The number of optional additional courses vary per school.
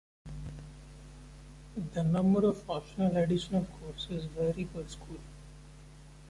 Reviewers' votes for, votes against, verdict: 2, 0, accepted